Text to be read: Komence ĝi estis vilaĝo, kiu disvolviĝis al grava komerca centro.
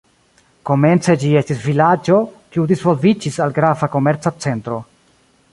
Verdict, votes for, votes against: rejected, 1, 2